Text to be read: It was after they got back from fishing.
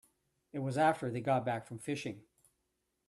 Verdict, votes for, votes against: accepted, 2, 0